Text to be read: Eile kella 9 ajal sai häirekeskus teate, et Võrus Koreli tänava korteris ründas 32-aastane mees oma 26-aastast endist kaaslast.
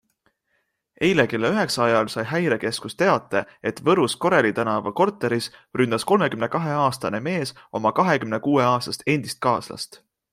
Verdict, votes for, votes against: rejected, 0, 2